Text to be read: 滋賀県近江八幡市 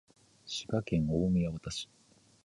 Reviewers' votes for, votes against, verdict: 2, 0, accepted